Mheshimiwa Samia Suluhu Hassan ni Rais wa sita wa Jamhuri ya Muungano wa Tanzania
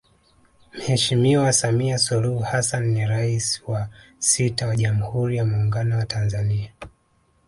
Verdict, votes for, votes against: accepted, 3, 0